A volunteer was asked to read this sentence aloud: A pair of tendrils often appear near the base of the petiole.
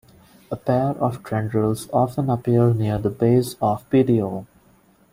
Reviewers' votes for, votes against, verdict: 2, 1, accepted